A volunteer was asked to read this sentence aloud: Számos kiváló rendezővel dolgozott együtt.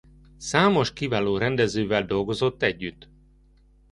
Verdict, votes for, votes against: accepted, 2, 0